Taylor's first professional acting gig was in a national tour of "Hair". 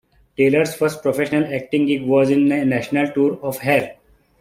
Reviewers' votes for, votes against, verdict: 3, 1, accepted